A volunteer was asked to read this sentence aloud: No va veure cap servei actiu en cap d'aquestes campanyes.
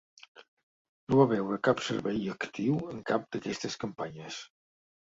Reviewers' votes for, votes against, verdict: 2, 0, accepted